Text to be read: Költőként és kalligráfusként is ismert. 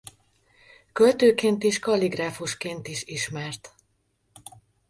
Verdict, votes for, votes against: accepted, 2, 1